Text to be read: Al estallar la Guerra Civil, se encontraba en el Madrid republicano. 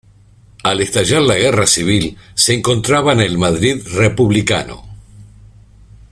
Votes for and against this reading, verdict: 2, 0, accepted